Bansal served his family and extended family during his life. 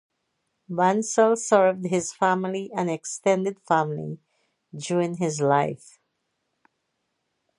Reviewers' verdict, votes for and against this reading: accepted, 4, 0